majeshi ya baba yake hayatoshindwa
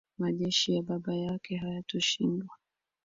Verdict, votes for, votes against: accepted, 2, 0